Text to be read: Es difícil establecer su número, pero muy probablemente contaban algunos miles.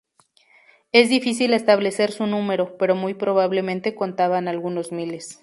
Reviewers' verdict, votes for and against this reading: accepted, 2, 0